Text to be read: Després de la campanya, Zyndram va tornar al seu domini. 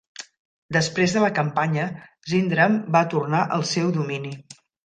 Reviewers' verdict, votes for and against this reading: accepted, 2, 0